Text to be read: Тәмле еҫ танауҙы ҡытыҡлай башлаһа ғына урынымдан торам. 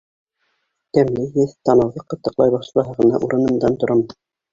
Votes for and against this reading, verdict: 1, 2, rejected